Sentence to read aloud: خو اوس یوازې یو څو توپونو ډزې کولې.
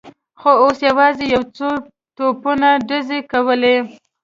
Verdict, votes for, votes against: accepted, 2, 0